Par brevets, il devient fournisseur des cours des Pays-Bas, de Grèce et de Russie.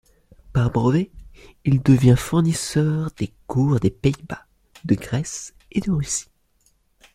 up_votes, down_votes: 2, 0